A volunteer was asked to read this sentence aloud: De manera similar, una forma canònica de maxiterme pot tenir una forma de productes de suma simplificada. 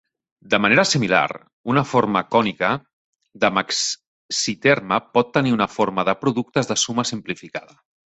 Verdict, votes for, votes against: rejected, 1, 2